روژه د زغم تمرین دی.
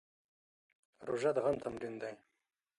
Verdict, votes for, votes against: rejected, 1, 2